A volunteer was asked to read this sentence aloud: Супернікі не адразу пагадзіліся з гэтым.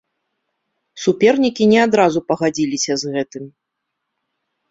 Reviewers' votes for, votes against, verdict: 2, 0, accepted